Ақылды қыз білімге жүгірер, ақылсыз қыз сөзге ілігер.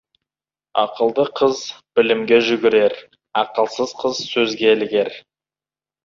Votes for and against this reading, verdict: 2, 0, accepted